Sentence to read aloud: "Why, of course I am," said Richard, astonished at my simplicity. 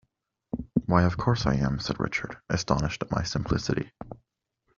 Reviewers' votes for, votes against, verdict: 2, 0, accepted